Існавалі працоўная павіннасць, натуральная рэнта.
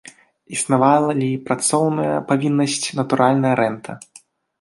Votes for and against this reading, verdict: 0, 2, rejected